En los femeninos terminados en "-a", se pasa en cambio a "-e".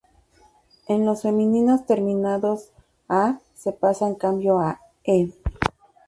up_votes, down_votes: 0, 2